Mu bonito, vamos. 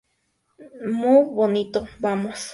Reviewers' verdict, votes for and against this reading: accepted, 2, 0